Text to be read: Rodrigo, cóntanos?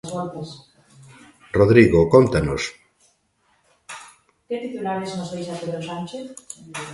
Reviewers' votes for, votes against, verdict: 0, 2, rejected